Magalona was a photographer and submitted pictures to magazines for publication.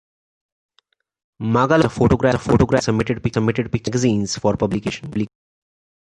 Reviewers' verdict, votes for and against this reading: rejected, 1, 2